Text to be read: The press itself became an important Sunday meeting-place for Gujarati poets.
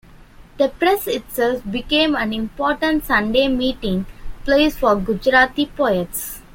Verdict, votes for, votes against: accepted, 2, 1